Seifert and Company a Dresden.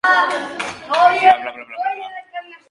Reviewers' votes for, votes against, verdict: 0, 2, rejected